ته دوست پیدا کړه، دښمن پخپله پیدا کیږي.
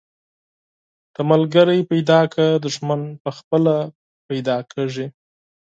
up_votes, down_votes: 2, 4